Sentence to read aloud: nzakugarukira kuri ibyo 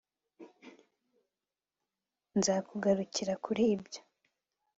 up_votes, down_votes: 3, 0